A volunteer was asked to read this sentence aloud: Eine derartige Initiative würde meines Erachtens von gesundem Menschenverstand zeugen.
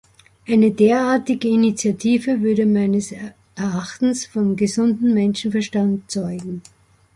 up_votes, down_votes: 1, 2